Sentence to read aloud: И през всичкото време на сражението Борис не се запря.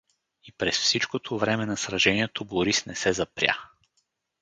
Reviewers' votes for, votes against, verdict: 2, 2, rejected